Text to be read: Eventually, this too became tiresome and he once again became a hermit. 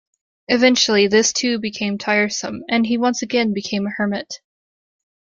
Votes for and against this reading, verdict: 2, 0, accepted